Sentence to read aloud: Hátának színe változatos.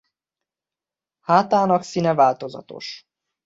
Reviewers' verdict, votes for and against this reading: accepted, 2, 0